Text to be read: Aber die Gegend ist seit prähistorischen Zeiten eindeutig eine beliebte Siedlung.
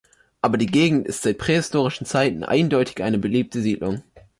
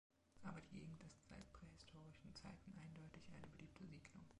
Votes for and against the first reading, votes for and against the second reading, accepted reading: 2, 0, 0, 2, first